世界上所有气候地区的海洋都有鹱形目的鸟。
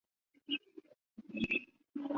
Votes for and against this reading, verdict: 4, 0, accepted